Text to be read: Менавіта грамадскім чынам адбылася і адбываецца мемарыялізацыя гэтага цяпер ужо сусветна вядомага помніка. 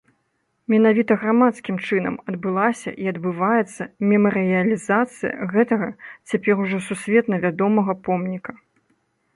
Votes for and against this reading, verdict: 3, 0, accepted